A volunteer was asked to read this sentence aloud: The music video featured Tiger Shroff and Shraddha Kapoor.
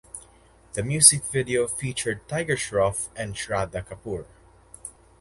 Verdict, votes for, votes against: rejected, 0, 2